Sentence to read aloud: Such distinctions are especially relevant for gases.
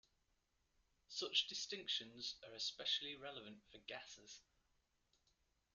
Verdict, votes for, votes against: rejected, 1, 2